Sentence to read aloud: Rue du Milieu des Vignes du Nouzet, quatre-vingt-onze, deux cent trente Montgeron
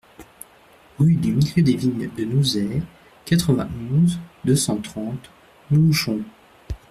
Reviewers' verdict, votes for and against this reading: rejected, 0, 2